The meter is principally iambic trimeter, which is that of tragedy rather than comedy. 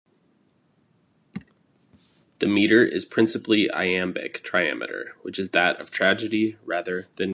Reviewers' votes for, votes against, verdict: 2, 0, accepted